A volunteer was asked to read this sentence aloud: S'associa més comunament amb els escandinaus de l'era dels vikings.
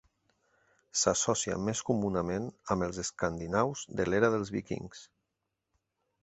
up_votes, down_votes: 1, 2